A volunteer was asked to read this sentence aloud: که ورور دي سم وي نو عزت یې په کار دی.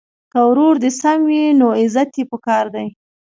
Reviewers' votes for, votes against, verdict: 0, 2, rejected